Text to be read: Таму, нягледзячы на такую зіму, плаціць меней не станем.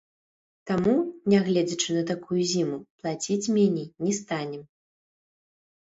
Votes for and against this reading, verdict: 1, 2, rejected